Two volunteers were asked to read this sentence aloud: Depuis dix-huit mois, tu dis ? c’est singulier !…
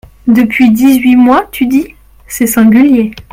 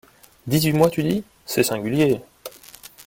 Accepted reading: first